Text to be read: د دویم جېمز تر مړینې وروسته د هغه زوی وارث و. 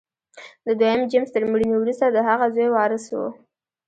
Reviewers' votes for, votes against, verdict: 0, 2, rejected